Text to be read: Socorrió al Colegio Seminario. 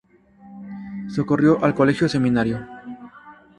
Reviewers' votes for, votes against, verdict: 2, 0, accepted